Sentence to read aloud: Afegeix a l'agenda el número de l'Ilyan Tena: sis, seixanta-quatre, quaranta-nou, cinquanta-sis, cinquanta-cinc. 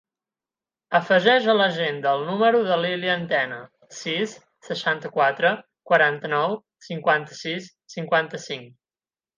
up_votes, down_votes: 8, 0